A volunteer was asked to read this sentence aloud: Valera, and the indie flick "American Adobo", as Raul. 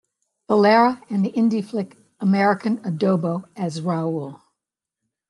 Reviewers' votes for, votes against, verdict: 1, 2, rejected